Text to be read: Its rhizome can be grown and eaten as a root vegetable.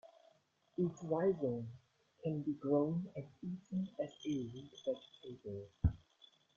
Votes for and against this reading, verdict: 0, 2, rejected